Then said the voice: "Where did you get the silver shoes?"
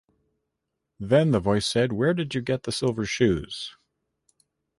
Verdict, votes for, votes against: rejected, 1, 2